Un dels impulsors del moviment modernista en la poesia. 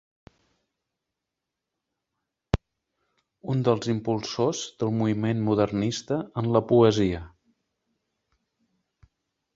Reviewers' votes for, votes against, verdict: 2, 0, accepted